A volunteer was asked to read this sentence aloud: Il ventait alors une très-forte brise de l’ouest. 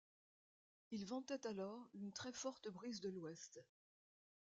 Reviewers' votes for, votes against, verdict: 2, 0, accepted